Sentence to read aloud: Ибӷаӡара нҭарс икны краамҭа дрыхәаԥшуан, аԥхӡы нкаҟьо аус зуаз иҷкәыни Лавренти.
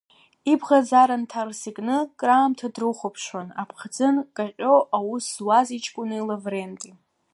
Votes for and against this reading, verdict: 1, 2, rejected